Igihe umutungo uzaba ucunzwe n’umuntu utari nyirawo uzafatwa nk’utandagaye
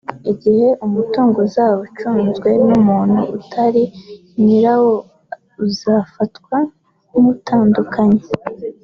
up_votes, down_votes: 2, 0